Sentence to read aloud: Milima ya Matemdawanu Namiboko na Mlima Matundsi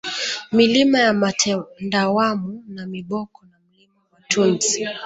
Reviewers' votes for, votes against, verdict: 2, 1, accepted